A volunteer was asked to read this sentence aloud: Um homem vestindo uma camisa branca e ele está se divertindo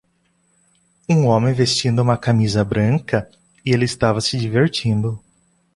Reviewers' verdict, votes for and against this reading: rejected, 0, 2